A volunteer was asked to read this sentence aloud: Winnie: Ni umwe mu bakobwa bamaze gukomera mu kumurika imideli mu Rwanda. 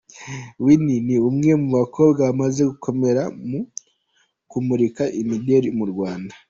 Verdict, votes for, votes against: accepted, 2, 1